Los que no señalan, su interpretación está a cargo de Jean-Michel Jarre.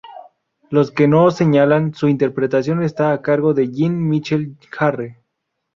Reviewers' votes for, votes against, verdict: 2, 2, rejected